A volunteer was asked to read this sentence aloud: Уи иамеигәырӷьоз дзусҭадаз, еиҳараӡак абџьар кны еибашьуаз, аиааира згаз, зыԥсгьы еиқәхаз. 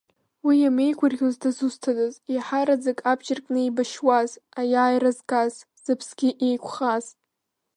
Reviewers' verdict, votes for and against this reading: rejected, 1, 2